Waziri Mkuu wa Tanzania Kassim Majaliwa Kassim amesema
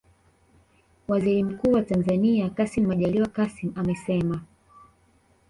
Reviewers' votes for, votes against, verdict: 2, 1, accepted